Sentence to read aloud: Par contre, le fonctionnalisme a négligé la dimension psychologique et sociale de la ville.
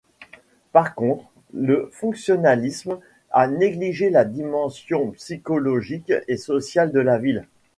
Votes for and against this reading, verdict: 2, 0, accepted